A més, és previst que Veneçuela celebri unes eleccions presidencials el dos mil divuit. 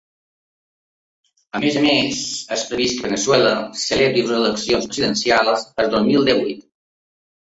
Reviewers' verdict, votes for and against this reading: rejected, 0, 2